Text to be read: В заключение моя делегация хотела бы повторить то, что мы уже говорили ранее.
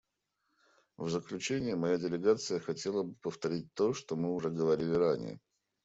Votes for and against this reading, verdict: 2, 0, accepted